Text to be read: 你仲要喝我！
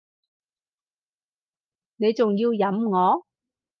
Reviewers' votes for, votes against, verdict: 0, 2, rejected